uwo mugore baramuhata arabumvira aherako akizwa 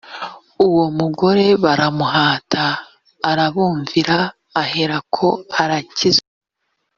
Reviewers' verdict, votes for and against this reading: rejected, 1, 2